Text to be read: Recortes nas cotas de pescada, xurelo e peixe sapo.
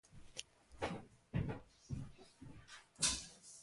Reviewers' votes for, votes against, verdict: 0, 2, rejected